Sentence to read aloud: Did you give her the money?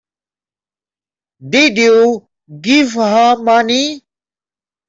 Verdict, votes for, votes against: rejected, 0, 2